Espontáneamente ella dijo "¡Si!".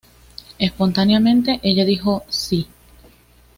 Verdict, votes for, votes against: accepted, 2, 1